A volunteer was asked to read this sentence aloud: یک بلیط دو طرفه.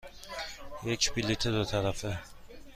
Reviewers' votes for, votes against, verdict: 2, 0, accepted